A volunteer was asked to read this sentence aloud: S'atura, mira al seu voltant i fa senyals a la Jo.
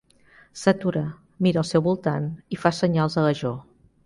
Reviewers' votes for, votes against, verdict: 2, 0, accepted